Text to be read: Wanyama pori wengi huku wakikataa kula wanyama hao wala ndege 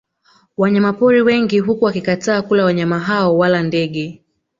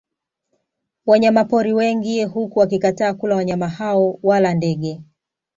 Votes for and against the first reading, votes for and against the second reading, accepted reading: 1, 2, 2, 0, second